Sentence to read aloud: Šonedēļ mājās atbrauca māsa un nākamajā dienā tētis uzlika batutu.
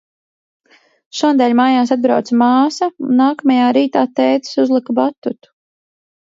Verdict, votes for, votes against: rejected, 0, 2